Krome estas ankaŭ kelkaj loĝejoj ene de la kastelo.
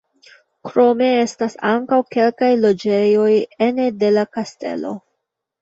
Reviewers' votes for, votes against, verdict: 3, 1, accepted